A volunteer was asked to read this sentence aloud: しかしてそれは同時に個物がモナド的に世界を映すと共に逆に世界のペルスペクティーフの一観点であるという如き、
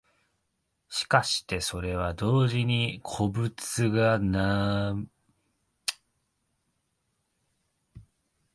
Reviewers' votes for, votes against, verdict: 0, 2, rejected